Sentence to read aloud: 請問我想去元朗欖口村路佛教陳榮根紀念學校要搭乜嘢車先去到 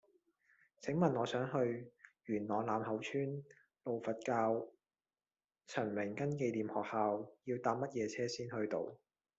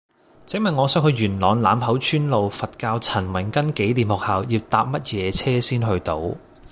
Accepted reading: first